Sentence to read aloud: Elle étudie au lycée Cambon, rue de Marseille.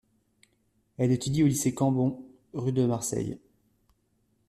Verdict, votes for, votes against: accepted, 2, 0